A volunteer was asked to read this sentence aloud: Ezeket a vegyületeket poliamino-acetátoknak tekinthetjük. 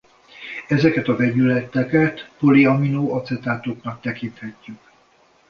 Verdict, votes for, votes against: rejected, 1, 2